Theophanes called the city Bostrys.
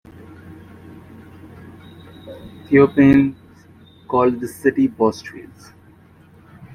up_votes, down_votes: 1, 2